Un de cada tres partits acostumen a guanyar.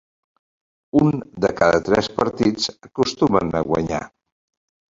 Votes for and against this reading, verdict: 1, 2, rejected